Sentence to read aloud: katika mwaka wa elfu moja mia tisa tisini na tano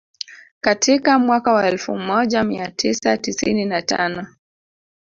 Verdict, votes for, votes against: rejected, 1, 2